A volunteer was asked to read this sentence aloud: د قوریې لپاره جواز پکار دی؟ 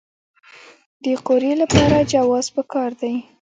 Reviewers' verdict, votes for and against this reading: accepted, 2, 1